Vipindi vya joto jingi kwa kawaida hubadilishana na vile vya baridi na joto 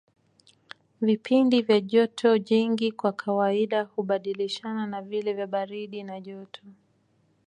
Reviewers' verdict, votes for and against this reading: accepted, 2, 1